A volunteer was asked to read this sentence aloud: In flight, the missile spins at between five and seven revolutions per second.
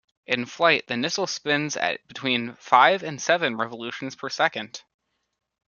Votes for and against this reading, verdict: 2, 0, accepted